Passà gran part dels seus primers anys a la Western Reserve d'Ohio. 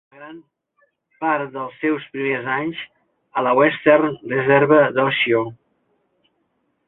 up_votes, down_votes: 0, 2